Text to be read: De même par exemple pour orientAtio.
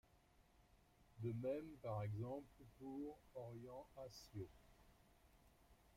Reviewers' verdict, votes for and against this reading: accepted, 2, 0